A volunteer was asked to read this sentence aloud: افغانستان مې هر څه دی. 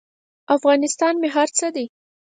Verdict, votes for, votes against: accepted, 4, 0